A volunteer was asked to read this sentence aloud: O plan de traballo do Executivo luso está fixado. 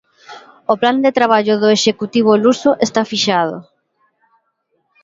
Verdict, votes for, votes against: accepted, 2, 0